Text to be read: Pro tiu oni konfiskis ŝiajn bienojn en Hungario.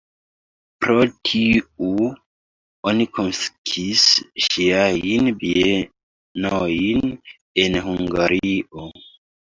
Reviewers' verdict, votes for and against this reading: rejected, 0, 3